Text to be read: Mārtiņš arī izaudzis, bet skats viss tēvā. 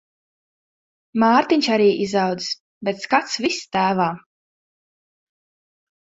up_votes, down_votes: 2, 0